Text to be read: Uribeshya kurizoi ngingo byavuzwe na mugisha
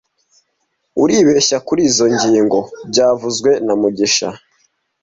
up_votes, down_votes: 2, 0